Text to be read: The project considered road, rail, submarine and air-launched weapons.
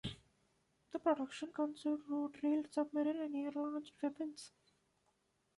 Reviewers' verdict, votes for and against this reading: rejected, 0, 2